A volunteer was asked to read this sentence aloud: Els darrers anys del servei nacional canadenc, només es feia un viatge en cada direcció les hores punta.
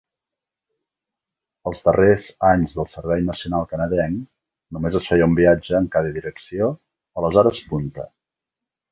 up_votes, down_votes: 0, 2